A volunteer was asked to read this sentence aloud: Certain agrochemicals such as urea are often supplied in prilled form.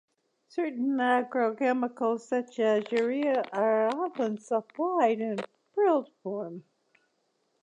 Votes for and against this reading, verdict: 2, 1, accepted